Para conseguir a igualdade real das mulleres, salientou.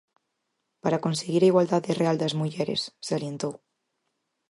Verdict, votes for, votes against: accepted, 4, 0